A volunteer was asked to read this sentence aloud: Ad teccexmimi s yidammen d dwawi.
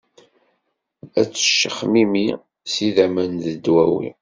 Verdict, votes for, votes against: accepted, 2, 0